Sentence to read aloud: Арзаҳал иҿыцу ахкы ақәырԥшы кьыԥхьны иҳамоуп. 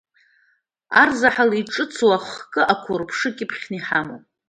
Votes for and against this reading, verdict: 2, 0, accepted